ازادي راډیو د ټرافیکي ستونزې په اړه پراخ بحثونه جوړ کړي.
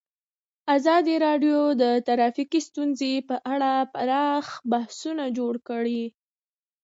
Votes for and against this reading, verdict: 1, 2, rejected